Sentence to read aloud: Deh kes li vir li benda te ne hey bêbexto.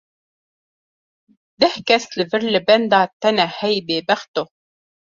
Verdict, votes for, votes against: accepted, 2, 0